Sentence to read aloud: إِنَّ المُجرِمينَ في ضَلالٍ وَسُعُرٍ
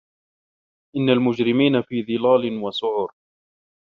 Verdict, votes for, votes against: rejected, 1, 2